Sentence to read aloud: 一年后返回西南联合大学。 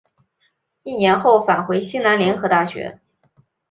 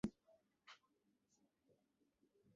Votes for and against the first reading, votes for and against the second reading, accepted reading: 2, 0, 1, 2, first